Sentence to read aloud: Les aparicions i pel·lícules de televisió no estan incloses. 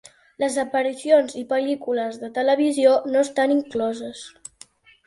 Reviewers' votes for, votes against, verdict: 2, 0, accepted